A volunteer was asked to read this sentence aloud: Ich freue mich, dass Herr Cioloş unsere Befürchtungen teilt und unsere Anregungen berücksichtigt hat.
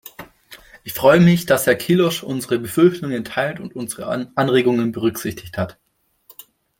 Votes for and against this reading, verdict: 1, 2, rejected